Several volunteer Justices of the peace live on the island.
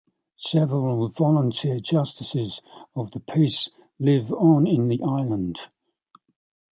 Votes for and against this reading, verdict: 2, 0, accepted